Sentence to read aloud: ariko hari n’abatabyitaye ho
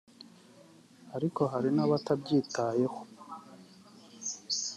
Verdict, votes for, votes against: accepted, 2, 0